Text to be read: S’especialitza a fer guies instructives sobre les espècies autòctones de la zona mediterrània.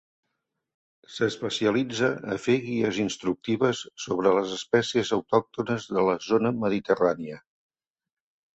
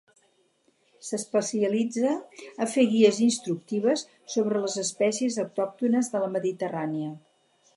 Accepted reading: first